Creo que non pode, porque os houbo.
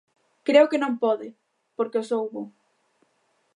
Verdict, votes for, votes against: accepted, 2, 0